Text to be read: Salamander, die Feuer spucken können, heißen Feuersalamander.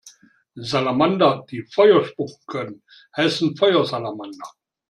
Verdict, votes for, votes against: accepted, 2, 1